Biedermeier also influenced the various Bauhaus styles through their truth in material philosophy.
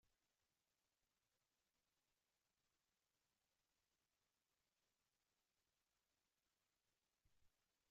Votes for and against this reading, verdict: 0, 2, rejected